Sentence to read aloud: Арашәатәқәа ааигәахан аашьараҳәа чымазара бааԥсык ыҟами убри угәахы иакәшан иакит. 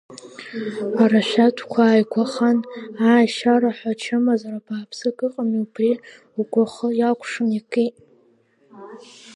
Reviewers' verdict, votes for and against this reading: accepted, 2, 0